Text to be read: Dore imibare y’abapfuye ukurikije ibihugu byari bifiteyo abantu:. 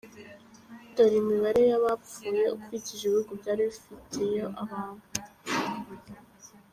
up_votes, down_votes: 2, 0